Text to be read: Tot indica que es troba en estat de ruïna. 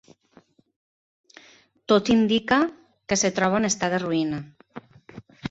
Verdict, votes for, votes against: rejected, 1, 2